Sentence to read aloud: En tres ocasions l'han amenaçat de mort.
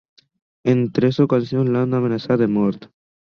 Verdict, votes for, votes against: accepted, 4, 0